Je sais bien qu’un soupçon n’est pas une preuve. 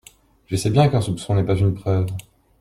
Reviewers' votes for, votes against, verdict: 2, 0, accepted